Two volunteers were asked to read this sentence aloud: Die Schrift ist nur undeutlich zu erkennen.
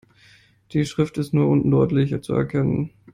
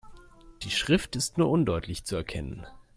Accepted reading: second